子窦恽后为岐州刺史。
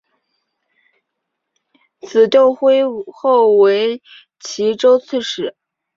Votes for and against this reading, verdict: 2, 1, accepted